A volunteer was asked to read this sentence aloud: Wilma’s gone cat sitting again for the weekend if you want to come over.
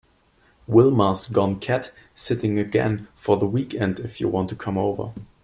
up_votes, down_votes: 2, 0